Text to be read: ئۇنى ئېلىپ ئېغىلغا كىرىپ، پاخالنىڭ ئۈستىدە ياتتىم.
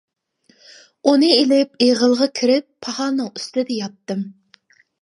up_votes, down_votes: 2, 0